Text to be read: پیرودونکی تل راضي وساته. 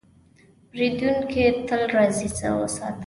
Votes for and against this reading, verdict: 0, 2, rejected